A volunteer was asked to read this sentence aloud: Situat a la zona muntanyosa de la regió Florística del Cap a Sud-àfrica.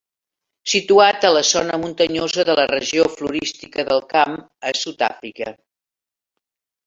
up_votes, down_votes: 1, 2